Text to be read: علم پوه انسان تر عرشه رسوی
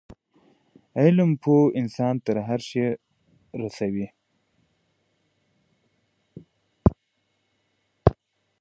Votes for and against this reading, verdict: 1, 3, rejected